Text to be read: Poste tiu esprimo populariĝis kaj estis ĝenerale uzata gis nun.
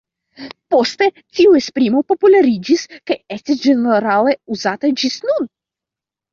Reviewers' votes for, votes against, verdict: 1, 2, rejected